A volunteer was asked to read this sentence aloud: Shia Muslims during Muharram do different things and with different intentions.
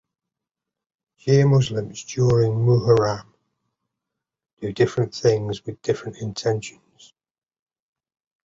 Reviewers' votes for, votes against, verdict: 2, 0, accepted